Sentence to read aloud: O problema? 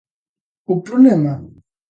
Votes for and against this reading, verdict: 2, 0, accepted